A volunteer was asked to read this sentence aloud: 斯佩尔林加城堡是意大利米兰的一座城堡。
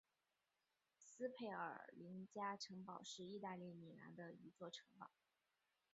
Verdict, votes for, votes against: rejected, 0, 3